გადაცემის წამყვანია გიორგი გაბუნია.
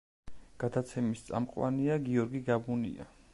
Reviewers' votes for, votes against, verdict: 2, 0, accepted